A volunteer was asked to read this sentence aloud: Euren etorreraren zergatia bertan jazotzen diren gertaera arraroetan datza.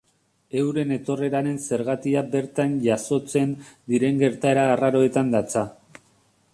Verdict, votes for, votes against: accepted, 2, 0